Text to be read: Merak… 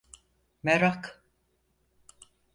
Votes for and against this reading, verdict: 4, 0, accepted